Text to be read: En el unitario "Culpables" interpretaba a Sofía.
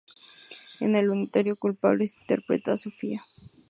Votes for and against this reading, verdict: 2, 0, accepted